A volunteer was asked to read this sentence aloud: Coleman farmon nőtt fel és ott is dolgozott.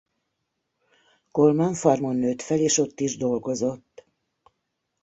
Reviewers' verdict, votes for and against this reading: accepted, 2, 0